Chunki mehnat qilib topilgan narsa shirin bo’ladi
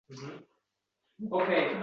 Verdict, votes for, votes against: rejected, 0, 2